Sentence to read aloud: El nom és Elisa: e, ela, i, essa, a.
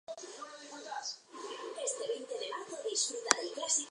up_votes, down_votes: 0, 4